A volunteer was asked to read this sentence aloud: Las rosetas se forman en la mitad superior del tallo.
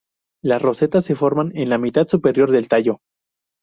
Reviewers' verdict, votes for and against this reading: accepted, 8, 0